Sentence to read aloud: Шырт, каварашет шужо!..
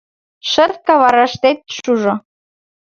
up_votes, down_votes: 1, 2